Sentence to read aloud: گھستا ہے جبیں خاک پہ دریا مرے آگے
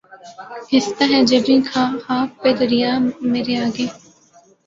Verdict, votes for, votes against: accepted, 2, 1